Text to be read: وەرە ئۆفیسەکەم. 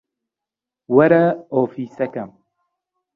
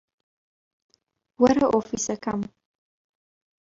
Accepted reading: first